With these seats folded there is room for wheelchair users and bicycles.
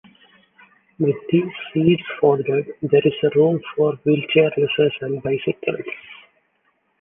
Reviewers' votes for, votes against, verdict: 2, 1, accepted